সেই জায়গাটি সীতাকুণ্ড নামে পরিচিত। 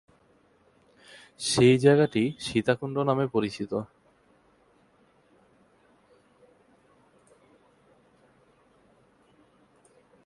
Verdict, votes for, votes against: rejected, 2, 2